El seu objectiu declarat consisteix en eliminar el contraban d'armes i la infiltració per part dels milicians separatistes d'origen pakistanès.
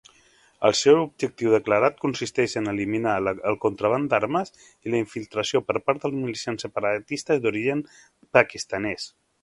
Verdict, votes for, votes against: rejected, 1, 2